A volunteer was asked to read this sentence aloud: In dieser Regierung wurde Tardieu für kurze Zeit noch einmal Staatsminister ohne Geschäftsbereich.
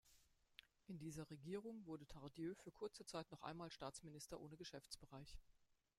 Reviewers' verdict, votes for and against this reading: rejected, 1, 2